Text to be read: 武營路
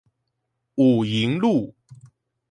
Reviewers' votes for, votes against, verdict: 4, 0, accepted